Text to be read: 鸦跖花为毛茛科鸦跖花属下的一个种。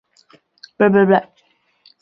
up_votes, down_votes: 0, 5